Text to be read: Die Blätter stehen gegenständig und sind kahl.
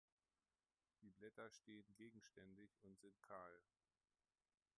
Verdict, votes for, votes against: rejected, 1, 2